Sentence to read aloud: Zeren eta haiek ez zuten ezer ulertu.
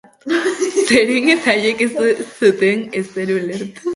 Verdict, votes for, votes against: rejected, 0, 3